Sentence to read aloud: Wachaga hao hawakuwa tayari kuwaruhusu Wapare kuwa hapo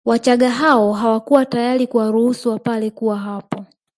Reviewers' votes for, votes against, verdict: 1, 2, rejected